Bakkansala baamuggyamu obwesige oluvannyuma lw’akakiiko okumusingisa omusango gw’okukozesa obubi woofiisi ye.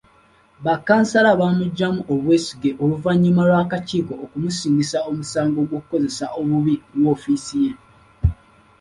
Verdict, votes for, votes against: accepted, 2, 0